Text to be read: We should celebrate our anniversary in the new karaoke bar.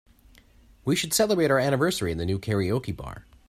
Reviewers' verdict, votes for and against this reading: accepted, 2, 0